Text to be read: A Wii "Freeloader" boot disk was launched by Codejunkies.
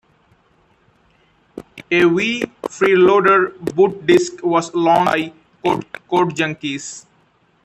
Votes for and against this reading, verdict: 2, 1, accepted